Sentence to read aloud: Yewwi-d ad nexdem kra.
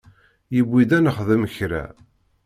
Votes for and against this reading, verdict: 2, 0, accepted